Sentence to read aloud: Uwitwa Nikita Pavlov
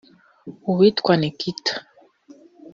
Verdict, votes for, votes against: rejected, 1, 2